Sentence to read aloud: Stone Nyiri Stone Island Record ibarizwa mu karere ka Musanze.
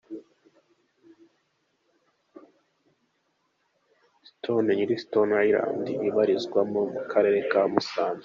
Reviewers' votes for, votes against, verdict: 0, 2, rejected